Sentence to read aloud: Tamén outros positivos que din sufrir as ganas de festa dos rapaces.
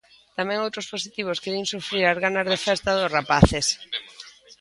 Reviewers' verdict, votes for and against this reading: rejected, 1, 2